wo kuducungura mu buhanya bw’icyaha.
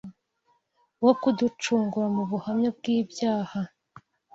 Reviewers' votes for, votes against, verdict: 0, 2, rejected